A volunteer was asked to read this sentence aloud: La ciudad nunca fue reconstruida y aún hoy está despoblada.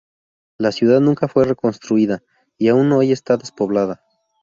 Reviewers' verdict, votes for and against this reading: rejected, 0, 2